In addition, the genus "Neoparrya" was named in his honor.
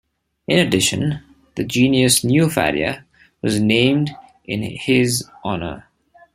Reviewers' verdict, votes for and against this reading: rejected, 1, 2